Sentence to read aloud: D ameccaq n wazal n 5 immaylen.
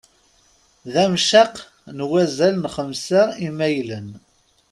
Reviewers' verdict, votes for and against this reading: rejected, 0, 2